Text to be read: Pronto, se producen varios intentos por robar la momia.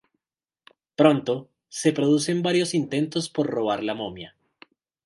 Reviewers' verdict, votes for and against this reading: accepted, 2, 0